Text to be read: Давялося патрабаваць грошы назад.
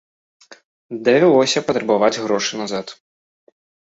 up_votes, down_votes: 3, 0